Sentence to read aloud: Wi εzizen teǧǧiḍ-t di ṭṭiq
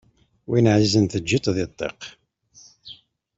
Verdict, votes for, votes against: accepted, 2, 0